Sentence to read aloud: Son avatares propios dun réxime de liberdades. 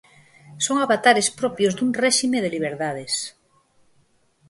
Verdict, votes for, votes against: rejected, 2, 2